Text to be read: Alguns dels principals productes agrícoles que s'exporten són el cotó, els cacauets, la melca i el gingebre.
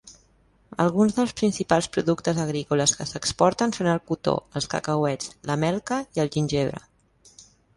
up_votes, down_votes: 2, 0